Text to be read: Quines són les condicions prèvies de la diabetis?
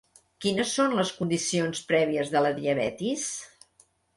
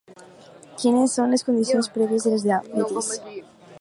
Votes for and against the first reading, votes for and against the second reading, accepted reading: 3, 0, 0, 4, first